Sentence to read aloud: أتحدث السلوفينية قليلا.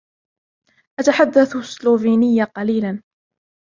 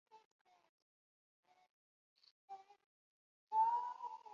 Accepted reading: first